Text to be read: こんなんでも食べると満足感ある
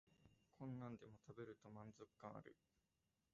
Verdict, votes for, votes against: rejected, 0, 2